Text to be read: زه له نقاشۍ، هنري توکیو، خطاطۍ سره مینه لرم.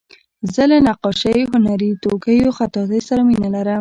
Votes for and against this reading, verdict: 2, 0, accepted